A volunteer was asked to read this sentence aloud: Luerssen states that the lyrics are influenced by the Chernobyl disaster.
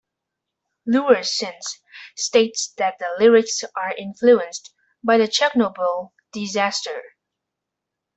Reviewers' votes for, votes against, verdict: 2, 0, accepted